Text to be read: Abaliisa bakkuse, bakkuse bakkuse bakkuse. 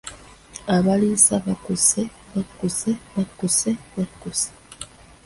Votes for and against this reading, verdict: 2, 1, accepted